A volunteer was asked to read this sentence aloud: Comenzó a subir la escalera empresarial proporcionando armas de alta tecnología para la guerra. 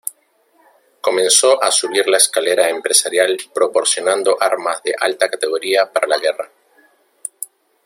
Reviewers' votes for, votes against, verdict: 1, 2, rejected